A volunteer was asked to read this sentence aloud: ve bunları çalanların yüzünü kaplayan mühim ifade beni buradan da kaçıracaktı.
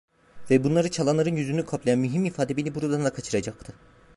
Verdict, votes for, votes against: rejected, 1, 2